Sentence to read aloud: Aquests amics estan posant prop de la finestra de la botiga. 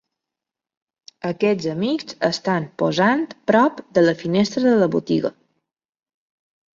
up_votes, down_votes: 3, 0